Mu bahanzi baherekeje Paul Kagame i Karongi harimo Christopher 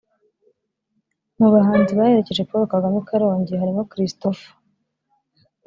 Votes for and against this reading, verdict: 2, 0, accepted